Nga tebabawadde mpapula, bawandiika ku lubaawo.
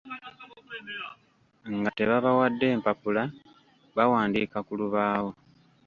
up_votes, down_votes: 1, 2